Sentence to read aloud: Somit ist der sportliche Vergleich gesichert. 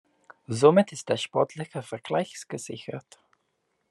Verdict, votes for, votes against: rejected, 1, 2